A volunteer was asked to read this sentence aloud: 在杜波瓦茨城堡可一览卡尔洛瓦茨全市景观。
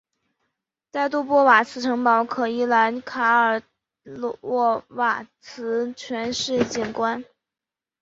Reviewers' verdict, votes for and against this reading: accepted, 2, 1